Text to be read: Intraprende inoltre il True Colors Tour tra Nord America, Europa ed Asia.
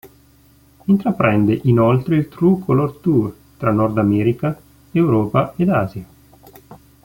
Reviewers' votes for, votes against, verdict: 0, 2, rejected